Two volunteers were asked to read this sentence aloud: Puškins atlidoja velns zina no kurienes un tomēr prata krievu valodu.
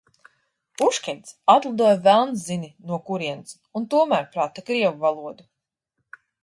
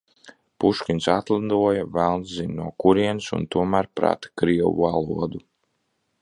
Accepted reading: second